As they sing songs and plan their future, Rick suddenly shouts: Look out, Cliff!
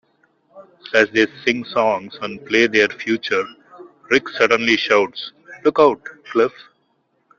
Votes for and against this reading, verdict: 0, 2, rejected